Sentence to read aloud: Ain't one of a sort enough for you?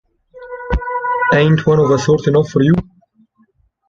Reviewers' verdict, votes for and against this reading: rejected, 0, 2